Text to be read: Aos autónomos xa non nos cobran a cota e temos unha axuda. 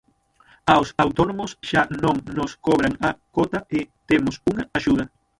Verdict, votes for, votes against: rejected, 0, 6